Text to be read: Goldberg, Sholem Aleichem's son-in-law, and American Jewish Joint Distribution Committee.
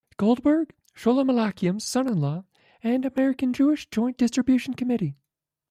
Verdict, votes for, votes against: accepted, 2, 1